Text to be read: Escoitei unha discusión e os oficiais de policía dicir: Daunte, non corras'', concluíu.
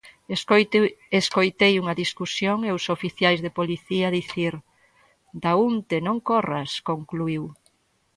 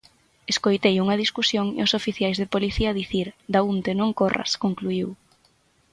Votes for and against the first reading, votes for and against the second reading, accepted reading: 0, 2, 6, 0, second